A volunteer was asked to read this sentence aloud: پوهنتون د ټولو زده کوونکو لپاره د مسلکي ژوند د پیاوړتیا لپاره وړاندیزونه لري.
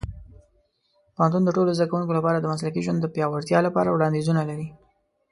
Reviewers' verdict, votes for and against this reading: accepted, 2, 0